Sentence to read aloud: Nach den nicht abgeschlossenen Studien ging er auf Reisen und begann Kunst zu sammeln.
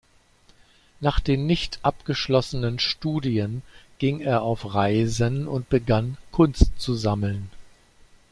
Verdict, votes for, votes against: accepted, 2, 0